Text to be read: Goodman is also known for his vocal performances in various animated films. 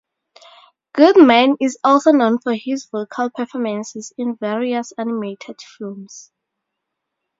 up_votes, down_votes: 2, 0